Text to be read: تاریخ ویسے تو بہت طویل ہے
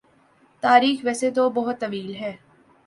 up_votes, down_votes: 2, 0